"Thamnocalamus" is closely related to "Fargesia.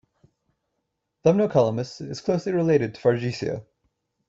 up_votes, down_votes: 2, 0